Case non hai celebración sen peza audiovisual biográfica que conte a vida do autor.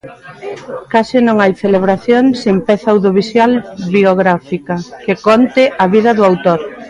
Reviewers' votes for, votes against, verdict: 0, 2, rejected